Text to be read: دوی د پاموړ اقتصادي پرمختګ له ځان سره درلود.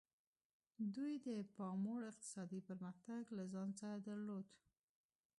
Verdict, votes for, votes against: accepted, 2, 1